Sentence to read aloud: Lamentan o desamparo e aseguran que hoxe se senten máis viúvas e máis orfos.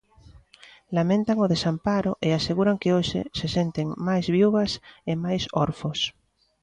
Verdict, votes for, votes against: accepted, 2, 0